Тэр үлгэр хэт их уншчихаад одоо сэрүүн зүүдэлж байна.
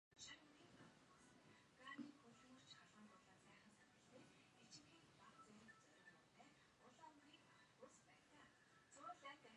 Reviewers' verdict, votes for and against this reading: rejected, 2, 3